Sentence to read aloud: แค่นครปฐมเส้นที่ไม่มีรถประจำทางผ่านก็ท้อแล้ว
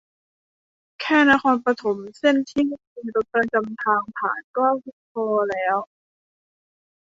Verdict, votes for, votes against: rejected, 0, 3